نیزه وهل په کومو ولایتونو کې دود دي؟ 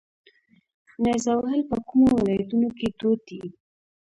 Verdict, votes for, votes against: rejected, 0, 2